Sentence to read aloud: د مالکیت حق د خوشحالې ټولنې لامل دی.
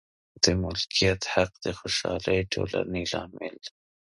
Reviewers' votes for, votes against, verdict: 2, 0, accepted